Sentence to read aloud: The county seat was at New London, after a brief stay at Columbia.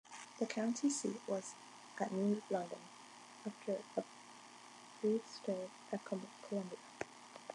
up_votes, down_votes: 2, 1